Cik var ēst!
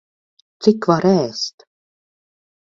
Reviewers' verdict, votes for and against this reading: accepted, 4, 2